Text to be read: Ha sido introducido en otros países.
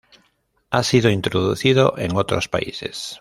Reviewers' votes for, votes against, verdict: 2, 0, accepted